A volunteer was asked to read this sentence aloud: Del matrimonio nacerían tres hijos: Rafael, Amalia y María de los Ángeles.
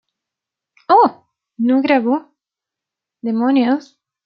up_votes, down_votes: 0, 2